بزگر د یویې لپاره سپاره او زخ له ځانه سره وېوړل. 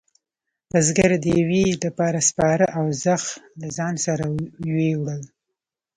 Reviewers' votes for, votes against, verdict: 0, 2, rejected